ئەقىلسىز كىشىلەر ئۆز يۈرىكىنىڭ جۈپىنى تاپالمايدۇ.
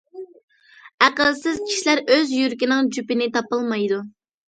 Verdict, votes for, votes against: accepted, 2, 0